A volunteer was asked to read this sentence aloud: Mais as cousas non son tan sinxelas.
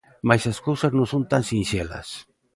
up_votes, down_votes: 2, 0